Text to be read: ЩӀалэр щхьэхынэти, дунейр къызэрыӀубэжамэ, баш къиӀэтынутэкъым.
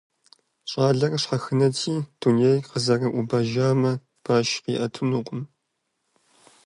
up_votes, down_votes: 0, 2